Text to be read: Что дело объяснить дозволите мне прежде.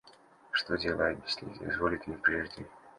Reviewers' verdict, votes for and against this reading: rejected, 1, 2